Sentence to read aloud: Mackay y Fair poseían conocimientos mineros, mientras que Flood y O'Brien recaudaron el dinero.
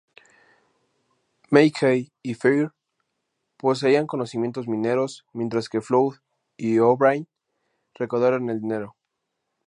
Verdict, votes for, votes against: accepted, 2, 0